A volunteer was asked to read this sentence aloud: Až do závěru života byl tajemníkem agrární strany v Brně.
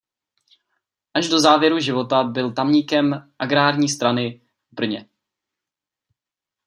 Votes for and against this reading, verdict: 0, 2, rejected